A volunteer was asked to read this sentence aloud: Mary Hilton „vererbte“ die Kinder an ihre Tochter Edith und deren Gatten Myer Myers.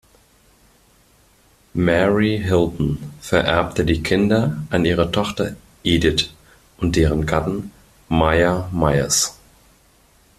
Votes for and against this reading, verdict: 2, 0, accepted